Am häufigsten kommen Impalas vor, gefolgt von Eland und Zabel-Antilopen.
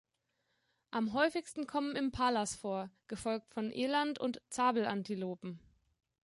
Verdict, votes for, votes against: accepted, 2, 0